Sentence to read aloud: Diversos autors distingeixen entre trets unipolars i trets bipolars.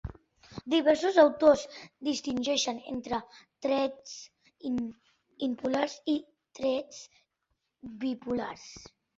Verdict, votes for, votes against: rejected, 0, 3